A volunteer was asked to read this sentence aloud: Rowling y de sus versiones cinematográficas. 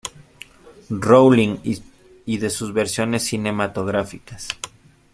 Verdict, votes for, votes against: rejected, 1, 2